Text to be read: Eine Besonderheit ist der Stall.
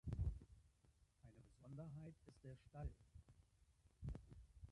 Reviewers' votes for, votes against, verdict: 0, 2, rejected